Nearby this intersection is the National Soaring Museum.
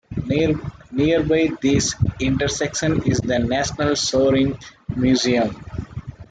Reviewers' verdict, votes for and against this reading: rejected, 1, 2